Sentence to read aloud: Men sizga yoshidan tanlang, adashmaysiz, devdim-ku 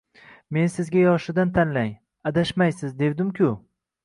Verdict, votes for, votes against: accepted, 2, 0